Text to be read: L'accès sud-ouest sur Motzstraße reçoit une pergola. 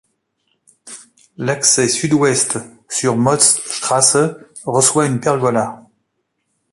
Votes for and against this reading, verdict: 2, 0, accepted